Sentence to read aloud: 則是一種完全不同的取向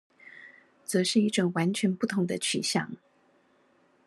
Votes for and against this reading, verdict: 2, 0, accepted